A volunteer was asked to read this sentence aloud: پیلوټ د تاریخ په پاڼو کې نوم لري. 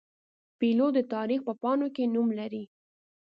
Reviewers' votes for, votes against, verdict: 2, 0, accepted